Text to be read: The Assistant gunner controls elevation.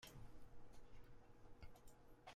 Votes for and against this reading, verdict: 0, 2, rejected